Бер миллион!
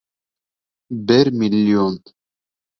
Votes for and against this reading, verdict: 2, 0, accepted